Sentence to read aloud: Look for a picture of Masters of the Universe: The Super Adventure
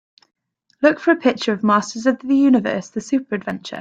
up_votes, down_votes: 2, 0